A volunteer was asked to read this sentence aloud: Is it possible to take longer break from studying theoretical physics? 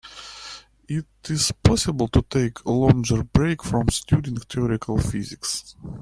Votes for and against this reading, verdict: 0, 2, rejected